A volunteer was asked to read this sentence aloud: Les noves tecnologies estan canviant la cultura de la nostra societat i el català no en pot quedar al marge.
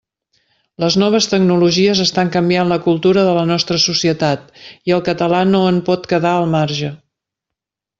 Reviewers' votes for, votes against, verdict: 3, 0, accepted